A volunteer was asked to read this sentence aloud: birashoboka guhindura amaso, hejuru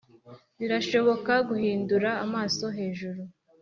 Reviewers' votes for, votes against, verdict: 3, 0, accepted